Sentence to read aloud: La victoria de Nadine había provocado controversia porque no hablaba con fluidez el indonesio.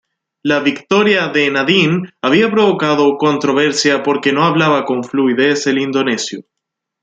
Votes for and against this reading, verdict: 2, 0, accepted